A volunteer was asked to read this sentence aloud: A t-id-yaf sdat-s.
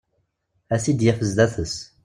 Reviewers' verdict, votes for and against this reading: accepted, 2, 0